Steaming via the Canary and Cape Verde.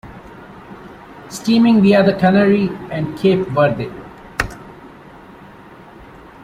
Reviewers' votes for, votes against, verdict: 2, 0, accepted